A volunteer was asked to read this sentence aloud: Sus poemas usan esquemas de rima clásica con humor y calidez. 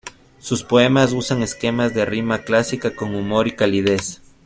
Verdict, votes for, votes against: accepted, 2, 0